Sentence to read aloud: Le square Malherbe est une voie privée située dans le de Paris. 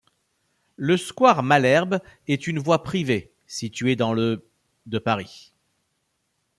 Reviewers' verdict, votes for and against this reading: accepted, 2, 0